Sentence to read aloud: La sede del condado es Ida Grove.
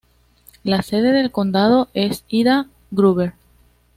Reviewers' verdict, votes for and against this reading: rejected, 1, 2